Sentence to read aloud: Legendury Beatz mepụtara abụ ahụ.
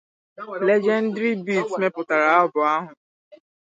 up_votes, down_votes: 2, 2